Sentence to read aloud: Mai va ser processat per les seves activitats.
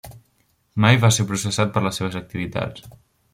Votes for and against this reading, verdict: 3, 0, accepted